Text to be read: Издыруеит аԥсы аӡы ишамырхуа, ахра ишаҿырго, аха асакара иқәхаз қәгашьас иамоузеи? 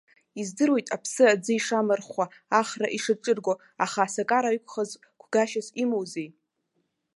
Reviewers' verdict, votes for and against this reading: rejected, 1, 2